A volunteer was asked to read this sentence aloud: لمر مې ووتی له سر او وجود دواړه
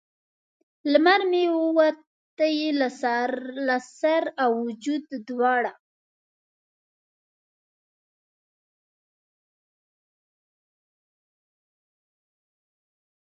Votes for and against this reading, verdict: 0, 2, rejected